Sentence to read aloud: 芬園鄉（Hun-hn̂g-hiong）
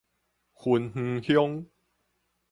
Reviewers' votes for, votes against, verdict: 4, 0, accepted